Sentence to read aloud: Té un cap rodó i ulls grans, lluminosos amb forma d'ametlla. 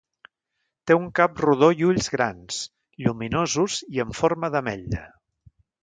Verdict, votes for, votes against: rejected, 1, 2